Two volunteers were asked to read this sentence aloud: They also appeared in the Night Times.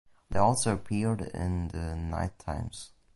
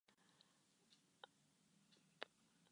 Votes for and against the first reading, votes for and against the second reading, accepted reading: 2, 0, 0, 6, first